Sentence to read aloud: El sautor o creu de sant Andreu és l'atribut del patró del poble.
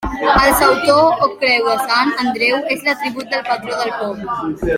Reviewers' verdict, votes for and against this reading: rejected, 0, 2